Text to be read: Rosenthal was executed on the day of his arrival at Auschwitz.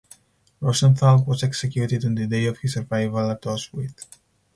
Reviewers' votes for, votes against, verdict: 4, 0, accepted